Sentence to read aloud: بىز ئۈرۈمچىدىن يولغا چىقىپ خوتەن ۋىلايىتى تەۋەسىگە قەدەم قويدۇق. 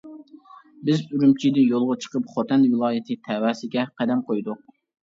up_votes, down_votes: 0, 2